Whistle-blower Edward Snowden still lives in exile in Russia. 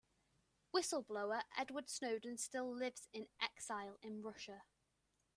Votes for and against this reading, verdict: 2, 0, accepted